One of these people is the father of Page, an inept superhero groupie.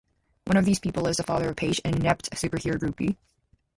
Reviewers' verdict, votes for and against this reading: accepted, 2, 0